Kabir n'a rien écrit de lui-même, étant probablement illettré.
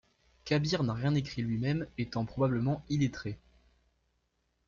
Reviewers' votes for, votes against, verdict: 0, 2, rejected